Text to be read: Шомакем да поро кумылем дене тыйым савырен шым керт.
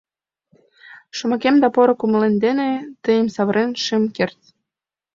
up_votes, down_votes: 2, 0